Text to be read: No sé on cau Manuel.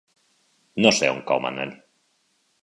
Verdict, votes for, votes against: rejected, 0, 2